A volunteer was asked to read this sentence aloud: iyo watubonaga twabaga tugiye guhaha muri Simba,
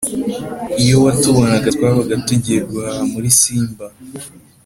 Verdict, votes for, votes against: accepted, 4, 0